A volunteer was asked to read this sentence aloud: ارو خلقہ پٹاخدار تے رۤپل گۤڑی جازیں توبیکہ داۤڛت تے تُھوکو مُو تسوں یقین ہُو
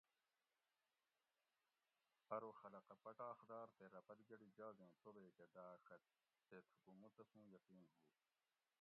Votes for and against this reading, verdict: 1, 2, rejected